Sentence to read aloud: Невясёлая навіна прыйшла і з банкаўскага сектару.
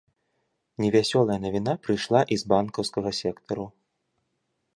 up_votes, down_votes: 2, 0